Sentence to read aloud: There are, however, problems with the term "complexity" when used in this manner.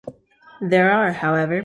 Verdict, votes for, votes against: rejected, 0, 2